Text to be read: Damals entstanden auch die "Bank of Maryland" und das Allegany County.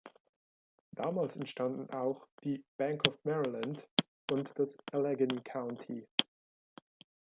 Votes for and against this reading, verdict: 1, 2, rejected